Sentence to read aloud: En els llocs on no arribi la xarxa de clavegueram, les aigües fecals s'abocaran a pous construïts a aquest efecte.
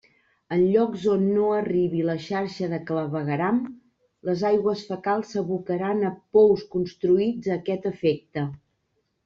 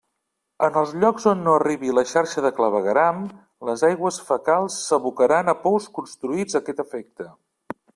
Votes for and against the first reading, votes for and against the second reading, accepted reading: 1, 2, 2, 0, second